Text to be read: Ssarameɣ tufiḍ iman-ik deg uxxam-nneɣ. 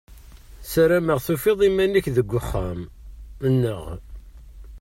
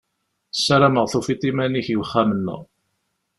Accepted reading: second